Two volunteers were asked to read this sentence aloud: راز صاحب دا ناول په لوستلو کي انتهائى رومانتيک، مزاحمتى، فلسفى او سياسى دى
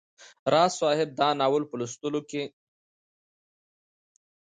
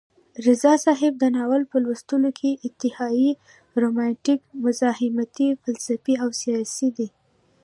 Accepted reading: second